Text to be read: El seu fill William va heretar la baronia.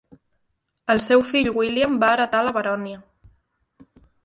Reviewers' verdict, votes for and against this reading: rejected, 1, 2